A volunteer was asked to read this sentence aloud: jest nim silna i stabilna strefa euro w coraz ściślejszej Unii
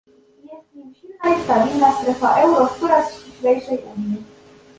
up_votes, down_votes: 1, 2